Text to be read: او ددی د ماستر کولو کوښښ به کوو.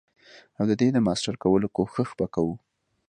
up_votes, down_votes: 2, 0